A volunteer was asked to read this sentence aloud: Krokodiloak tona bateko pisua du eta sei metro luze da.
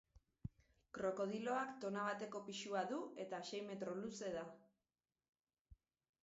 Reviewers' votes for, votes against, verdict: 2, 4, rejected